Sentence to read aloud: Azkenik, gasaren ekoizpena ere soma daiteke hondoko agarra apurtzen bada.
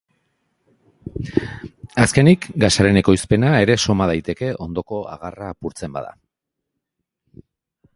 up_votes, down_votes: 3, 0